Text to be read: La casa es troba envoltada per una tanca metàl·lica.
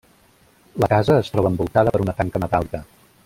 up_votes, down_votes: 1, 2